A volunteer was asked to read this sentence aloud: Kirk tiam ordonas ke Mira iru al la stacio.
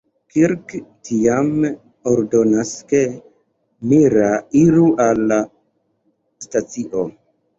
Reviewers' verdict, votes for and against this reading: rejected, 1, 2